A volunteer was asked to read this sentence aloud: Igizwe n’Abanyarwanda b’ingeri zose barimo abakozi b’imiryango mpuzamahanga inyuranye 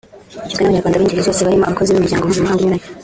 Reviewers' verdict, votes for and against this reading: rejected, 0, 3